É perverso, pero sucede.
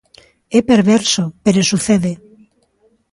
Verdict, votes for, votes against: accepted, 3, 0